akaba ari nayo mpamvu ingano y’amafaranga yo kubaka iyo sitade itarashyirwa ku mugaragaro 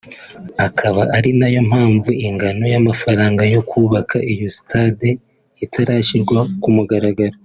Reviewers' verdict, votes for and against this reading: accepted, 3, 0